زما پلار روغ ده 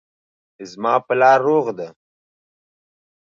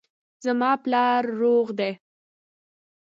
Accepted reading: first